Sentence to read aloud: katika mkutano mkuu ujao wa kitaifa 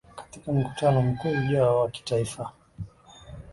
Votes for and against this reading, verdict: 2, 1, accepted